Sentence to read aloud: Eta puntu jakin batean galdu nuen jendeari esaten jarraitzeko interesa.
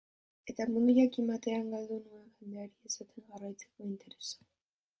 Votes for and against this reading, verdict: 0, 3, rejected